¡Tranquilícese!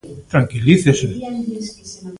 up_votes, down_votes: 0, 3